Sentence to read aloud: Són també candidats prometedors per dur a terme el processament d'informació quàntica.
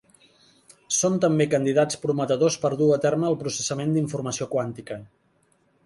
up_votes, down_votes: 2, 0